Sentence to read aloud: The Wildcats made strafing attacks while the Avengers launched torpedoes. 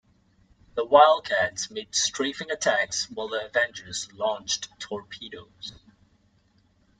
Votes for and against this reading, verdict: 2, 0, accepted